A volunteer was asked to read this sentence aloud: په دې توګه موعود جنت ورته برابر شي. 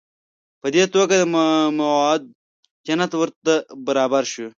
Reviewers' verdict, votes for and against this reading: rejected, 1, 2